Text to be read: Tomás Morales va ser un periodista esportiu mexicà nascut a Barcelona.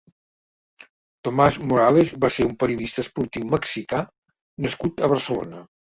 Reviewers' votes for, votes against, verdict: 4, 0, accepted